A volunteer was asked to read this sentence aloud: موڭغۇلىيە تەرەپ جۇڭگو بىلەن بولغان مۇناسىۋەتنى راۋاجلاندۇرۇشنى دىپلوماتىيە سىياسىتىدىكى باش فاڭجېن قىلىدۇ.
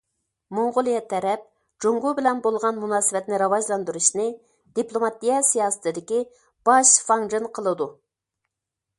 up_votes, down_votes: 2, 0